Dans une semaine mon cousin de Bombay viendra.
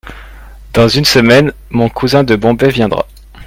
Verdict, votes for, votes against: accepted, 2, 0